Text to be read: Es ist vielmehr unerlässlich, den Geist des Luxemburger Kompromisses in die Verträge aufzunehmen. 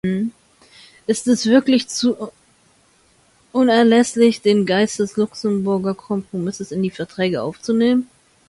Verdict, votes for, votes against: rejected, 0, 2